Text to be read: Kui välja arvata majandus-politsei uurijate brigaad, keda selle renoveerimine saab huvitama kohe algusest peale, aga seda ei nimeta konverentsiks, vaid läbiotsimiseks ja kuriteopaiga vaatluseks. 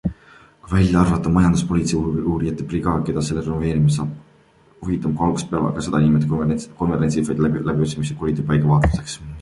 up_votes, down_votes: 0, 2